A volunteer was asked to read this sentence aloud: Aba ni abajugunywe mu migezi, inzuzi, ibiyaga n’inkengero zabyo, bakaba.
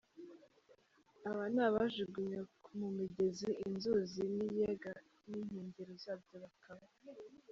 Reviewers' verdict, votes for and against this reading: rejected, 0, 3